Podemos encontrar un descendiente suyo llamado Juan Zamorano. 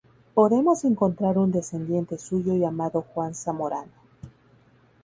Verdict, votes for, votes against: accepted, 2, 0